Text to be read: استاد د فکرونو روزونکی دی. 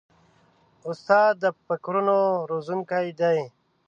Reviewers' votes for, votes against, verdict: 3, 0, accepted